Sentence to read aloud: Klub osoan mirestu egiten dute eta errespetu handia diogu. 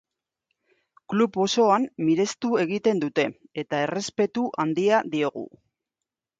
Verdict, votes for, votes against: accepted, 2, 0